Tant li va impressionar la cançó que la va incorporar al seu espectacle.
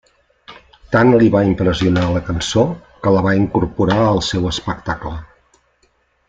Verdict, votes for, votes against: accepted, 3, 0